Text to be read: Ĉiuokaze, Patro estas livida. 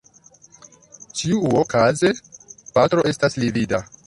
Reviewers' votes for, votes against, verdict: 2, 0, accepted